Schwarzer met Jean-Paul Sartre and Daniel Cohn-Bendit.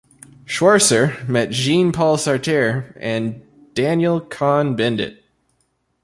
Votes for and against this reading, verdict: 1, 2, rejected